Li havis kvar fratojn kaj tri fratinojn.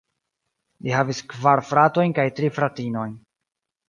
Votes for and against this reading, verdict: 2, 1, accepted